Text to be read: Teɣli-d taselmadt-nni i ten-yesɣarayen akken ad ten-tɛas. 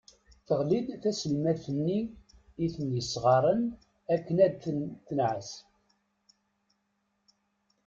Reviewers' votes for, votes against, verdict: 1, 2, rejected